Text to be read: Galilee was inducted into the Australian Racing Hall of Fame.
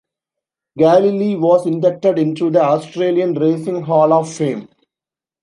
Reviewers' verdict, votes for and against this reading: accepted, 2, 0